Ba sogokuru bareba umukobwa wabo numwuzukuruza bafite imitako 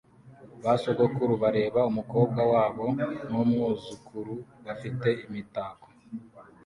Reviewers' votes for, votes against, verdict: 2, 0, accepted